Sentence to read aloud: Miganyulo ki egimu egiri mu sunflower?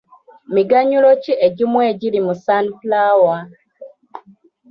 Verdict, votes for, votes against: accepted, 2, 0